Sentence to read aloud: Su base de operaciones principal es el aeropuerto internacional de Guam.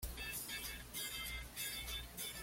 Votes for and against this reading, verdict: 1, 2, rejected